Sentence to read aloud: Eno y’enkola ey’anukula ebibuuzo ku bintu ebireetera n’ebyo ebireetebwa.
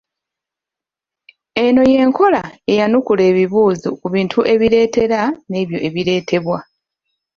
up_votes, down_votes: 2, 0